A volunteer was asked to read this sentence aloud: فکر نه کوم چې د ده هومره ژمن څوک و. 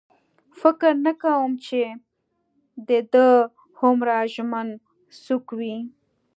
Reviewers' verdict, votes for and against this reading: accepted, 2, 0